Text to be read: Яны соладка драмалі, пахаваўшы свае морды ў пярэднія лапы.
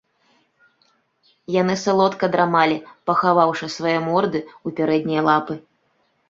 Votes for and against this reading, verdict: 2, 0, accepted